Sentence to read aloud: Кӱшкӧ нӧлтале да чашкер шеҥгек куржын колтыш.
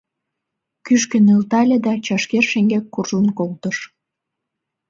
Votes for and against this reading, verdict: 3, 0, accepted